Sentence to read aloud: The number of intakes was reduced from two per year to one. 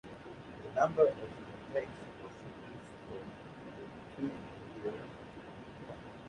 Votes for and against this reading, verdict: 0, 2, rejected